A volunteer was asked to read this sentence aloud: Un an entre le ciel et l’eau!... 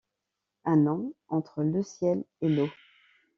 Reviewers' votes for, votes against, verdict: 2, 1, accepted